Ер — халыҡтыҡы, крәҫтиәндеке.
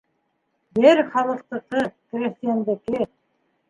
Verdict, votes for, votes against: rejected, 0, 2